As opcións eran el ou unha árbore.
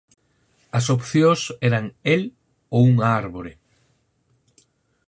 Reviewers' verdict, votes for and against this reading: accepted, 4, 0